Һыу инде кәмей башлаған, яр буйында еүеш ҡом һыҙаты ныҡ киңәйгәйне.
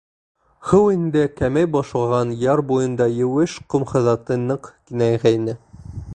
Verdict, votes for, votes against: rejected, 0, 2